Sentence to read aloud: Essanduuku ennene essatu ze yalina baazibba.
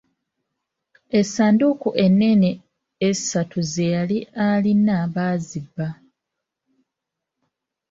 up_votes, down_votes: 1, 2